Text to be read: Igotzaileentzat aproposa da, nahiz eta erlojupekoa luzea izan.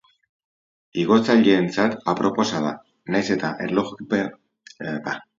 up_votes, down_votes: 0, 2